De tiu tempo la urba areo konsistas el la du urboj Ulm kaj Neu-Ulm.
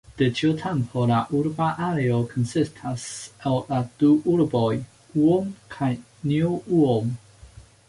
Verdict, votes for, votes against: rejected, 1, 2